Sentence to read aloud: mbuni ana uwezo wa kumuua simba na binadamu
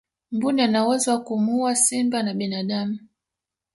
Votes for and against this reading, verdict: 1, 2, rejected